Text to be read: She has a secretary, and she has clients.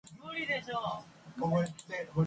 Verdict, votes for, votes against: rejected, 0, 2